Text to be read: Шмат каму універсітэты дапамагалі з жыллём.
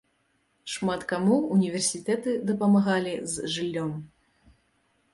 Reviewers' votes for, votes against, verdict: 2, 0, accepted